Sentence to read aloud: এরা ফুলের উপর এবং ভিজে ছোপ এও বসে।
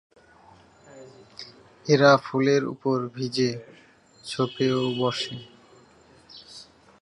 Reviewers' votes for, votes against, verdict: 0, 2, rejected